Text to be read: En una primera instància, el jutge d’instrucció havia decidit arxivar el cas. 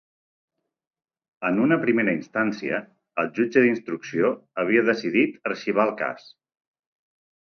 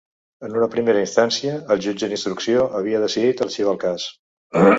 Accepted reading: first